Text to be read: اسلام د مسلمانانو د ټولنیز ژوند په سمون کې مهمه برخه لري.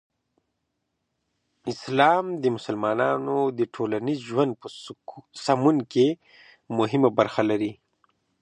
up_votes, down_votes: 2, 0